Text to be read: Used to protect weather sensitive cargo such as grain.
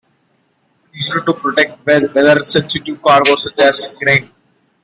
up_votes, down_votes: 0, 2